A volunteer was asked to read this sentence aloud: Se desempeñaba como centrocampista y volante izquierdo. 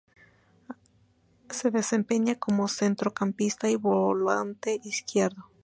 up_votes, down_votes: 0, 2